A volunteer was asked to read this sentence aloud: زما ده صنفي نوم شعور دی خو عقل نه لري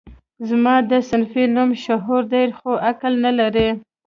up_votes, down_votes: 2, 0